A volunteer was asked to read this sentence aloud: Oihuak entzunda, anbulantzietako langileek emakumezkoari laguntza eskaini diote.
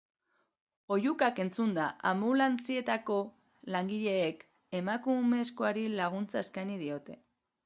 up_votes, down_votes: 1, 2